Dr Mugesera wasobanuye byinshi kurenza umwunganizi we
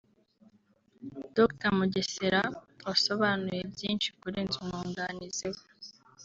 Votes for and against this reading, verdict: 1, 2, rejected